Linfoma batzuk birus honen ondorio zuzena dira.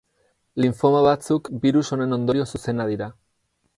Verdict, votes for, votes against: accepted, 6, 0